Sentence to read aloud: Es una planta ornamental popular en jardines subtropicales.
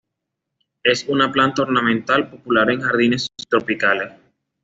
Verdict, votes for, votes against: accepted, 2, 0